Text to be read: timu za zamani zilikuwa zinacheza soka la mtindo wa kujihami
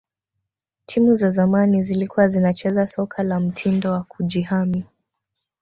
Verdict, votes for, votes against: accepted, 9, 0